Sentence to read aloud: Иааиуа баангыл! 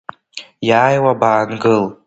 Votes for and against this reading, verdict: 2, 1, accepted